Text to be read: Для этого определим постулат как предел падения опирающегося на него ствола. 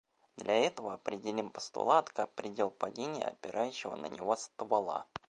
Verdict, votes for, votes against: accepted, 2, 0